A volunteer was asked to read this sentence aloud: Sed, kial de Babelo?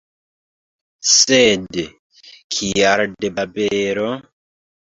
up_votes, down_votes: 1, 2